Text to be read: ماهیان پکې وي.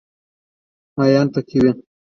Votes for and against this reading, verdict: 2, 1, accepted